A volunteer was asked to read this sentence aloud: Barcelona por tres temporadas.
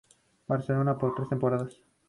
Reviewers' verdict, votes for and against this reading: accepted, 2, 0